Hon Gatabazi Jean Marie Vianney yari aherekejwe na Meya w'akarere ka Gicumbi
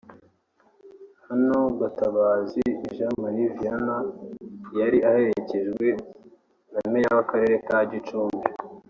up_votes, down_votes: 3, 1